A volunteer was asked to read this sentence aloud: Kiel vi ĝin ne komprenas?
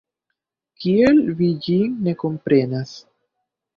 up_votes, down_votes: 1, 2